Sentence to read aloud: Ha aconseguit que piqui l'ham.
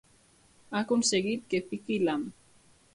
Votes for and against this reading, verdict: 2, 0, accepted